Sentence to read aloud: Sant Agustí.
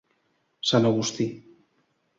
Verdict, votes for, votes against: accepted, 2, 0